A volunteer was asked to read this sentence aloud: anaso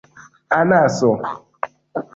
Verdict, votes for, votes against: accepted, 2, 0